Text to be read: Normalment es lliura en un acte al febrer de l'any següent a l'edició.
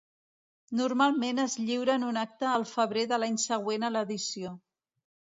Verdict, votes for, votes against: accepted, 2, 0